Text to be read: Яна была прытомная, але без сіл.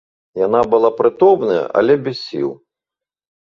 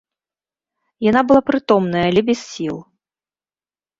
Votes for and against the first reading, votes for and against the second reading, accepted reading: 3, 1, 1, 2, first